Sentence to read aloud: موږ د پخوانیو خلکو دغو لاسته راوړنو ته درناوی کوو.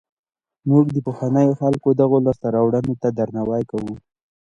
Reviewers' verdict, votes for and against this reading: rejected, 1, 2